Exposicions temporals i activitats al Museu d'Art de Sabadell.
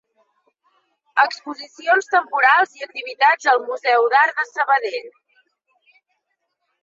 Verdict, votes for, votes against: accepted, 2, 1